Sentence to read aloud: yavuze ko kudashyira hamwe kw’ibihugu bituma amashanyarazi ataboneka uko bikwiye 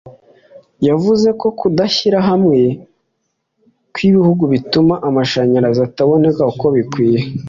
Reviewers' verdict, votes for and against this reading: accepted, 2, 0